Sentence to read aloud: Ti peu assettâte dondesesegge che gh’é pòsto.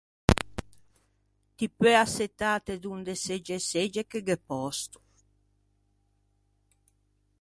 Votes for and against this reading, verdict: 0, 2, rejected